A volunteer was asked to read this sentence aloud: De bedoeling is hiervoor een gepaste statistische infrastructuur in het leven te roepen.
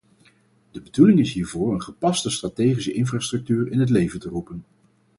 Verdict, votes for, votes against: rejected, 2, 2